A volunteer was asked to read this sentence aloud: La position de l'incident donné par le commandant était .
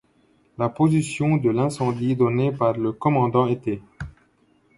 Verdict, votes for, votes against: rejected, 0, 2